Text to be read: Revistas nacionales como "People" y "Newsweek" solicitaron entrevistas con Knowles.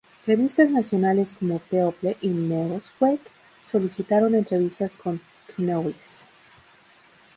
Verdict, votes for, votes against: rejected, 0, 2